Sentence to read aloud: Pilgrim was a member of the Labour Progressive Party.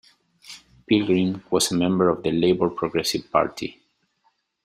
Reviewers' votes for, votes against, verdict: 2, 0, accepted